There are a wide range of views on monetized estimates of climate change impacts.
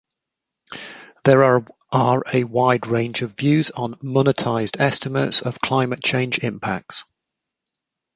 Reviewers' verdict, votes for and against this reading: accepted, 2, 0